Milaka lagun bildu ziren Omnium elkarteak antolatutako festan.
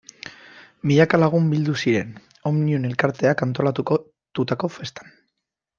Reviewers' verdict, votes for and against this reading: rejected, 0, 2